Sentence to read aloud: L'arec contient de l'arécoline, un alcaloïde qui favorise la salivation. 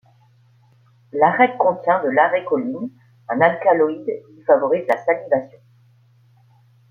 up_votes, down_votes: 2, 1